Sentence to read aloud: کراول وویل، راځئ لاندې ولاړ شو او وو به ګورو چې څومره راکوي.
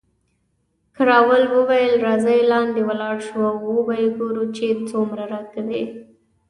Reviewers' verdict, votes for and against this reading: accepted, 2, 0